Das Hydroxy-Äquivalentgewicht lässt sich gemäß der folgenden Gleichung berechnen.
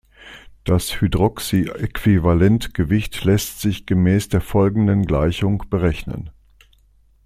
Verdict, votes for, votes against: accepted, 2, 0